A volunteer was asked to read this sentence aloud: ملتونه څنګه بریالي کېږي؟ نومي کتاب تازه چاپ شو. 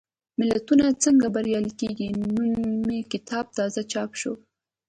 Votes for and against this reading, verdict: 2, 0, accepted